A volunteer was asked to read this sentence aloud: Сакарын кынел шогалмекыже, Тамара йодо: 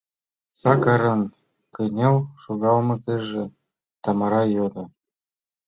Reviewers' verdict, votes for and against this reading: rejected, 0, 2